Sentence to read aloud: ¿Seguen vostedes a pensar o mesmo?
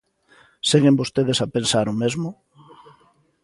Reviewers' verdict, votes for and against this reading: accepted, 2, 0